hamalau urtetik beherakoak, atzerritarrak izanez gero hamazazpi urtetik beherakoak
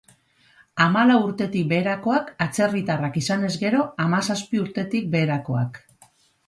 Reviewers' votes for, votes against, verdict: 2, 2, rejected